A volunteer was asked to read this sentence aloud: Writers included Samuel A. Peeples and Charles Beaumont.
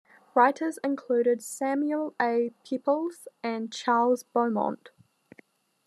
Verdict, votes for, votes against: accepted, 2, 0